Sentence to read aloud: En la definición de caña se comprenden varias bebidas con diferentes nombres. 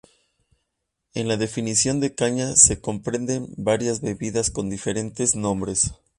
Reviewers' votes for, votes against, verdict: 2, 0, accepted